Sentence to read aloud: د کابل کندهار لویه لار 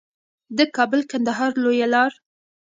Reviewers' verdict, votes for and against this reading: rejected, 1, 2